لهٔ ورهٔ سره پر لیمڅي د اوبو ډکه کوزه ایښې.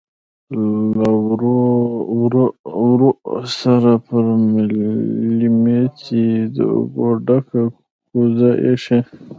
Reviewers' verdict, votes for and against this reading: rejected, 1, 2